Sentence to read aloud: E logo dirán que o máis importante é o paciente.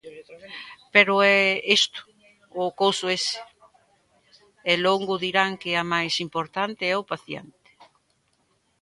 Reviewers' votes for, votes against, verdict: 0, 2, rejected